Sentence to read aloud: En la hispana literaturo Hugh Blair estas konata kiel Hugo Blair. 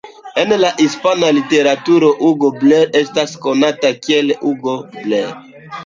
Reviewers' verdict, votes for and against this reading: rejected, 0, 2